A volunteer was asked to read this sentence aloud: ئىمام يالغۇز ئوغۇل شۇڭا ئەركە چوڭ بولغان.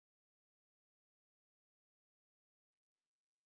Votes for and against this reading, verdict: 0, 2, rejected